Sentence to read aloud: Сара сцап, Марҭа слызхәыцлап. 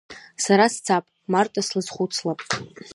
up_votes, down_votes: 3, 0